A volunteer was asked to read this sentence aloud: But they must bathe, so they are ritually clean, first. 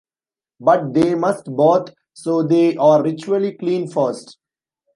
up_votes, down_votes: 1, 2